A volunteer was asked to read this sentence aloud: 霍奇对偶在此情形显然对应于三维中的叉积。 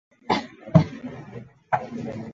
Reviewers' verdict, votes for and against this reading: rejected, 0, 2